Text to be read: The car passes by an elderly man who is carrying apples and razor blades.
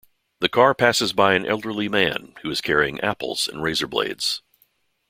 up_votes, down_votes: 2, 0